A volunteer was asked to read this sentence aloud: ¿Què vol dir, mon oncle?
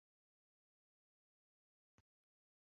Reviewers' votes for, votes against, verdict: 0, 2, rejected